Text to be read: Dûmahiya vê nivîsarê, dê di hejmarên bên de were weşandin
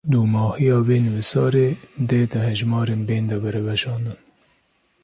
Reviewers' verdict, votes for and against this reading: accepted, 2, 0